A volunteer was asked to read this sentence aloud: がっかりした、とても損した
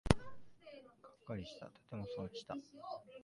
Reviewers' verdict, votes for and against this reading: rejected, 0, 2